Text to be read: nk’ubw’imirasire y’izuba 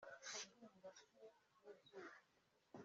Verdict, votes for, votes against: rejected, 0, 2